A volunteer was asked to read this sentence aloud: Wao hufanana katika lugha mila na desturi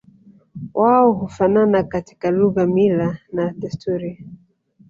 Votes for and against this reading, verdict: 4, 0, accepted